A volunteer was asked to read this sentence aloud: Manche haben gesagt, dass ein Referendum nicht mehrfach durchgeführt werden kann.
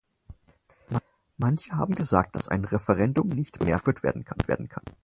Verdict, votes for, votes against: rejected, 0, 4